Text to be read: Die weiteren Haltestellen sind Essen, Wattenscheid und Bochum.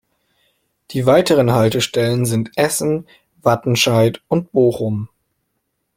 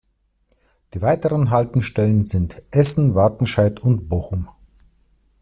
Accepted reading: first